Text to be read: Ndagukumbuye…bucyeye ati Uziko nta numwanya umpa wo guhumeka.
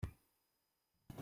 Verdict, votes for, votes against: rejected, 0, 2